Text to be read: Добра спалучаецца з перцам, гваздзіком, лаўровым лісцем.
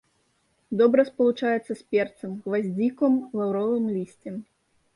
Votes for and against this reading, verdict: 1, 2, rejected